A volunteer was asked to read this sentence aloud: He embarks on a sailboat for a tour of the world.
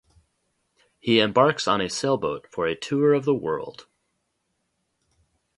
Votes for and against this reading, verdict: 2, 2, rejected